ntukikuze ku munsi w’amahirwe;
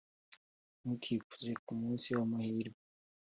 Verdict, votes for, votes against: accepted, 2, 0